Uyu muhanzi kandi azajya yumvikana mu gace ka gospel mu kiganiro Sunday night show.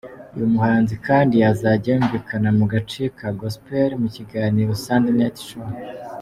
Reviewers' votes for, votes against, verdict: 2, 0, accepted